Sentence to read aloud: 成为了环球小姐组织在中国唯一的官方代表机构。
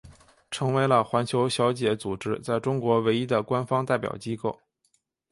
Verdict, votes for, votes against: accepted, 2, 0